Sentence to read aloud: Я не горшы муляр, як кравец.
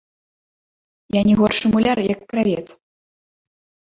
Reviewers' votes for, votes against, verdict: 1, 2, rejected